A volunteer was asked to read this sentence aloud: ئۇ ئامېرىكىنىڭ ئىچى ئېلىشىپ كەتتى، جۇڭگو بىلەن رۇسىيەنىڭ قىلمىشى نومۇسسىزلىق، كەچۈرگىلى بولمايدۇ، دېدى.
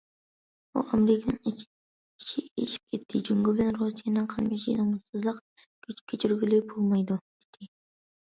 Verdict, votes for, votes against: rejected, 0, 2